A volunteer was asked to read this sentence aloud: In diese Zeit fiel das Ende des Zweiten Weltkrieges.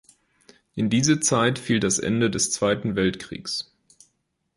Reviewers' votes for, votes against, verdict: 2, 0, accepted